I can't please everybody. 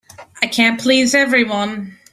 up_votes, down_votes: 0, 2